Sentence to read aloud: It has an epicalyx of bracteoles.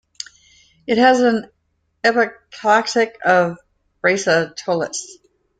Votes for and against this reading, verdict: 0, 2, rejected